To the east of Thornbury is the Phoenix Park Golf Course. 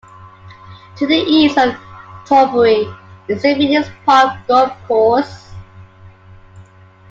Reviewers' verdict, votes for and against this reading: accepted, 2, 1